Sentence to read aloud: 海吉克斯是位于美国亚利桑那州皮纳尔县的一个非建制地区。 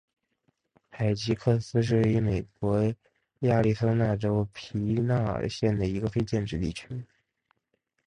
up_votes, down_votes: 3, 0